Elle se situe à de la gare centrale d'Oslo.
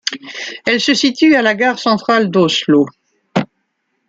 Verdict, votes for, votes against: accepted, 2, 1